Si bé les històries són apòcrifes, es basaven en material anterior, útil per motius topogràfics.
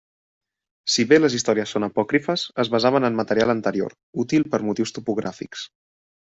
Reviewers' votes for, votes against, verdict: 1, 2, rejected